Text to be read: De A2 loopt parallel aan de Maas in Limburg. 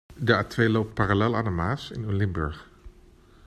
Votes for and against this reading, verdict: 0, 2, rejected